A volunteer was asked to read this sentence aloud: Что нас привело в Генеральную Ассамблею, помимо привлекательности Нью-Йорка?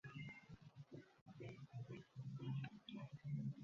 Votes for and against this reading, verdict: 0, 2, rejected